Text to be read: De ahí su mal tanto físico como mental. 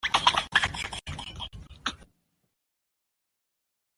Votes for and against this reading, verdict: 0, 2, rejected